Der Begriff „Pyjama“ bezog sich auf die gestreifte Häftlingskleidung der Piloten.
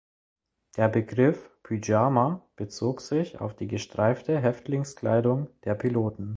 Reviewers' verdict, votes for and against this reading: accepted, 2, 0